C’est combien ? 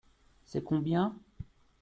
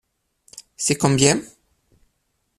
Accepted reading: first